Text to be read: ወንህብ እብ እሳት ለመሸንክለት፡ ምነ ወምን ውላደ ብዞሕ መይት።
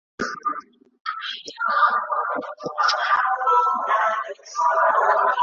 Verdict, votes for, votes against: rejected, 0, 2